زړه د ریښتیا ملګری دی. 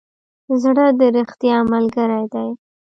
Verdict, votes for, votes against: rejected, 1, 2